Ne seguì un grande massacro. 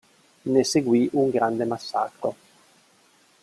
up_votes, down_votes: 1, 2